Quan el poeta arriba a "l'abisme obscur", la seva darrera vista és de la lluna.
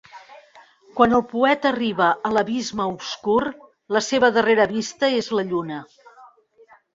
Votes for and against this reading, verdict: 0, 2, rejected